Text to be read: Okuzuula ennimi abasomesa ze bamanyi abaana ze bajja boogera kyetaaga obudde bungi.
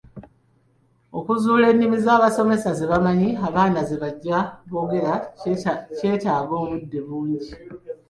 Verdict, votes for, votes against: rejected, 0, 2